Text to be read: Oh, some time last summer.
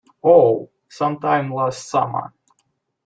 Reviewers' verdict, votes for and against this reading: accepted, 2, 1